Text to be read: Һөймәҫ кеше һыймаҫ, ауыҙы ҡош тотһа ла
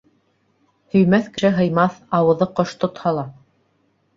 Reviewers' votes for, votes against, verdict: 2, 0, accepted